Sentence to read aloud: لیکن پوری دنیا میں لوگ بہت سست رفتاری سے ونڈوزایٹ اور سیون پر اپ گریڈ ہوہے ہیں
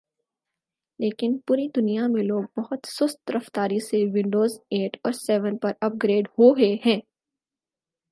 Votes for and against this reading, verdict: 6, 0, accepted